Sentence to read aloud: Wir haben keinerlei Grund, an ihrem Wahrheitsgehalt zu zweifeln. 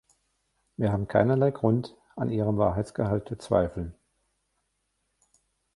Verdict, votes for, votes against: rejected, 1, 2